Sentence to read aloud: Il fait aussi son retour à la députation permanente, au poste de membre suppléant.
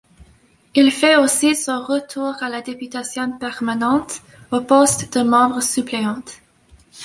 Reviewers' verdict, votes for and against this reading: accepted, 2, 0